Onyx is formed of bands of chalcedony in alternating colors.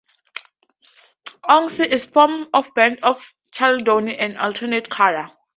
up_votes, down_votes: 0, 4